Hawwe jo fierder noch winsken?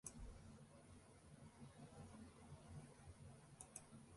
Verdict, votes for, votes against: rejected, 0, 2